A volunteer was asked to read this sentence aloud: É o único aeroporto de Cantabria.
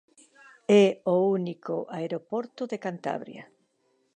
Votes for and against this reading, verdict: 2, 0, accepted